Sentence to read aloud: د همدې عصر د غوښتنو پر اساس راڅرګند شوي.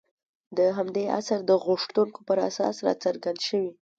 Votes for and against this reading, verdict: 1, 2, rejected